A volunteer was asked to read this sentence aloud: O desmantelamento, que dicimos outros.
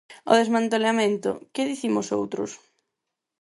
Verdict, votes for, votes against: accepted, 4, 0